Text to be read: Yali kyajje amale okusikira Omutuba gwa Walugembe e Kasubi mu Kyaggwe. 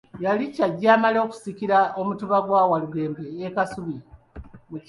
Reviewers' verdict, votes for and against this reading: rejected, 1, 2